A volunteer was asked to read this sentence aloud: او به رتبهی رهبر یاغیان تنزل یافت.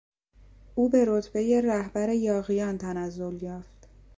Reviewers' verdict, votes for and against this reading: accepted, 2, 0